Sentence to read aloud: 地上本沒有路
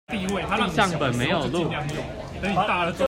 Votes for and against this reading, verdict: 1, 2, rejected